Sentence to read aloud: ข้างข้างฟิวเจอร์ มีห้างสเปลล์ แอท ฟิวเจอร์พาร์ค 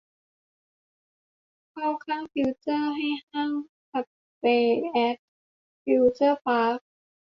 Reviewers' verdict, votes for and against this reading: rejected, 0, 2